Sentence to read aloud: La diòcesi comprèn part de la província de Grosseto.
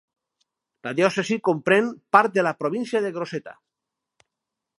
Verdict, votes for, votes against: rejected, 0, 4